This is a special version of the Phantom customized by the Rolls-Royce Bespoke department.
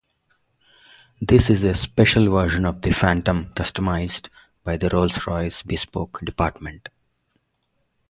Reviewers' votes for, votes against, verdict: 2, 0, accepted